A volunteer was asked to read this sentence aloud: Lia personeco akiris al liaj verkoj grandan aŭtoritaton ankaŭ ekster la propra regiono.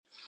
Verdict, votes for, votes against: rejected, 1, 2